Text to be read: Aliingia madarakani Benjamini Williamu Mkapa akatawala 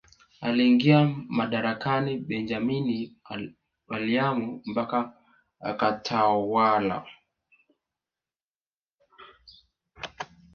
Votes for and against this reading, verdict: 0, 2, rejected